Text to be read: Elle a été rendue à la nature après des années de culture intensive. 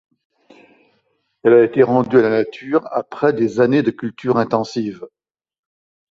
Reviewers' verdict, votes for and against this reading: accepted, 2, 0